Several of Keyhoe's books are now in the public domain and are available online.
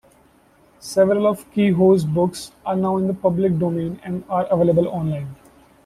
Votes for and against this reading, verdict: 1, 2, rejected